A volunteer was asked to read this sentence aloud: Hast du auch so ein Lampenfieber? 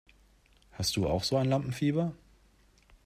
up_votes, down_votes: 2, 0